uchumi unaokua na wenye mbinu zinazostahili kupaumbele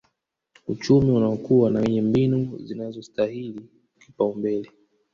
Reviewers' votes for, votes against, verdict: 2, 3, rejected